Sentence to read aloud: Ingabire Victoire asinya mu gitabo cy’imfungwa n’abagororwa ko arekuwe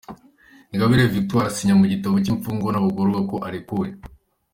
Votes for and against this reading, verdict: 2, 0, accepted